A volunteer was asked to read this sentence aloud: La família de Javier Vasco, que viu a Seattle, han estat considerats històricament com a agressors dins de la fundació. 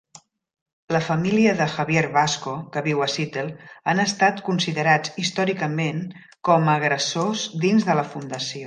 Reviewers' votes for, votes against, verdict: 0, 2, rejected